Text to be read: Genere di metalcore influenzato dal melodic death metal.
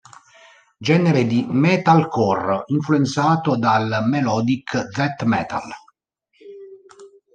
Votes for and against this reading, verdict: 1, 2, rejected